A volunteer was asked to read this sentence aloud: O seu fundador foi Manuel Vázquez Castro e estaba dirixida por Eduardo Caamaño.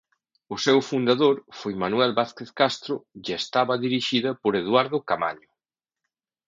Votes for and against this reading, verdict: 1, 2, rejected